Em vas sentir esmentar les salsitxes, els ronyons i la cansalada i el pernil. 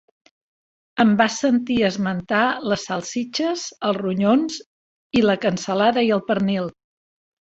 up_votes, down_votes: 2, 0